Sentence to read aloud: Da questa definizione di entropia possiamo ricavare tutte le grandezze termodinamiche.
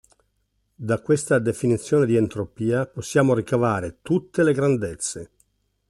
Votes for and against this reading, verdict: 0, 2, rejected